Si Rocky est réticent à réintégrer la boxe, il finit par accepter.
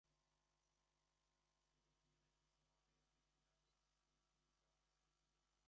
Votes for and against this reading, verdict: 0, 2, rejected